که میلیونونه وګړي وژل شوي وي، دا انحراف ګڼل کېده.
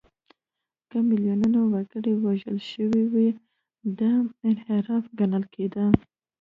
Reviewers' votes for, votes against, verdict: 1, 2, rejected